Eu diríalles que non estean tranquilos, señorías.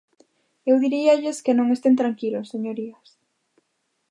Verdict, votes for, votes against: rejected, 0, 2